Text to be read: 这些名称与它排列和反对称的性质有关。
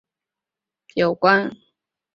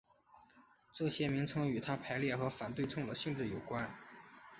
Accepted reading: second